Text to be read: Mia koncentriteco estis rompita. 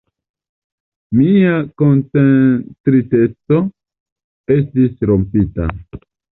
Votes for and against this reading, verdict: 1, 2, rejected